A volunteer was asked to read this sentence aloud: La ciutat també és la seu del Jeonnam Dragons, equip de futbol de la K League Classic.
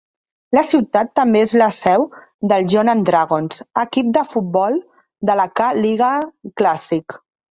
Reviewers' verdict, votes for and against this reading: rejected, 0, 2